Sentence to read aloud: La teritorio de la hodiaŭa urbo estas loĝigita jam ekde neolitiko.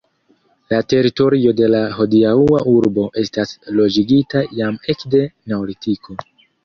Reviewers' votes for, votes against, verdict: 1, 2, rejected